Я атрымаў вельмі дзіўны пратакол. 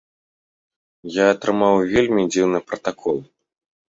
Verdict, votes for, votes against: accepted, 2, 0